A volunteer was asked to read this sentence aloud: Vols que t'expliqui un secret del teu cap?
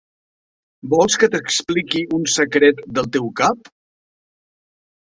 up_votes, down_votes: 3, 0